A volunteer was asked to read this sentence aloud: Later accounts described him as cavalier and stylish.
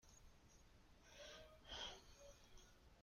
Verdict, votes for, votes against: rejected, 0, 2